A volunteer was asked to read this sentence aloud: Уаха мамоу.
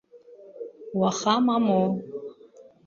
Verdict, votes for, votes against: accepted, 2, 0